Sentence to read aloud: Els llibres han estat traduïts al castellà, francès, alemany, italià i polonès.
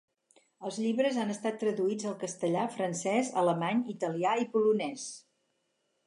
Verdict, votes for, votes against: accepted, 4, 0